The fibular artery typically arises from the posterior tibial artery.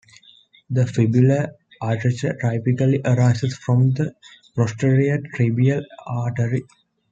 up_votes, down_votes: 0, 2